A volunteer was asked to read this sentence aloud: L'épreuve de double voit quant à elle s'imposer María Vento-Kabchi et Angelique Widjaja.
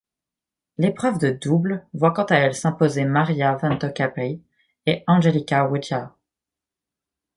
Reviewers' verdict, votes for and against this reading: rejected, 1, 2